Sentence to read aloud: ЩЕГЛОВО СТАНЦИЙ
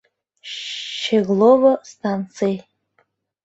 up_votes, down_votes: 1, 2